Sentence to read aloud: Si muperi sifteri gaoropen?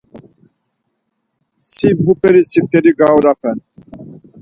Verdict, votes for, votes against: accepted, 4, 0